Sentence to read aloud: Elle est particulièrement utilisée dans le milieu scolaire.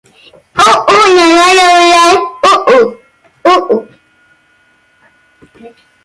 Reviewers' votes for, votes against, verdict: 0, 2, rejected